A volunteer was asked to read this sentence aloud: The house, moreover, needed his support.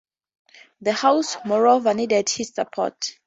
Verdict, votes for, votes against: accepted, 2, 0